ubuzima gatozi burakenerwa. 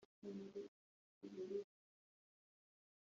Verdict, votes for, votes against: rejected, 1, 2